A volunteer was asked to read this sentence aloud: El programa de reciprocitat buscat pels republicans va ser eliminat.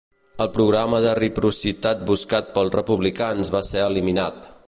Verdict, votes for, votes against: rejected, 1, 2